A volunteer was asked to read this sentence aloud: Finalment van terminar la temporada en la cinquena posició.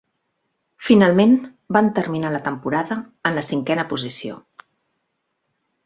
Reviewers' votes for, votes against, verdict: 3, 1, accepted